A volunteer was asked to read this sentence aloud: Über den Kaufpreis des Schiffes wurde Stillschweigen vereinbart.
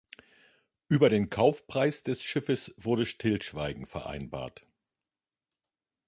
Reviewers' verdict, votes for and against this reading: accepted, 2, 0